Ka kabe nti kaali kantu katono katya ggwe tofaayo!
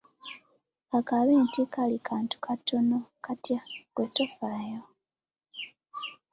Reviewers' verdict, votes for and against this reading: accepted, 2, 0